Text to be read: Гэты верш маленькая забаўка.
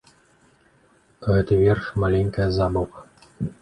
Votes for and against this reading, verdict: 0, 2, rejected